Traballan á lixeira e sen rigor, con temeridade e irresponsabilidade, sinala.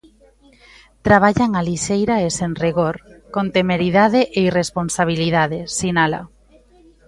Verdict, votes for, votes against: accepted, 2, 0